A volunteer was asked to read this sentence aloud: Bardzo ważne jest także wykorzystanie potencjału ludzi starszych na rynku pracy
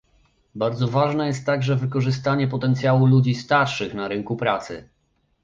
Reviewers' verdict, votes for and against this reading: accepted, 2, 0